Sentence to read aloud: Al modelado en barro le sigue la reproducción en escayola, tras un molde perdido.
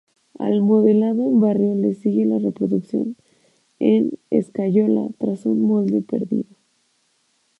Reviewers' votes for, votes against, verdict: 0, 2, rejected